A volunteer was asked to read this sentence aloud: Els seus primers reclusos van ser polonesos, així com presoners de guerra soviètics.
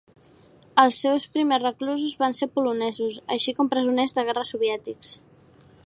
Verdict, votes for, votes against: accepted, 3, 0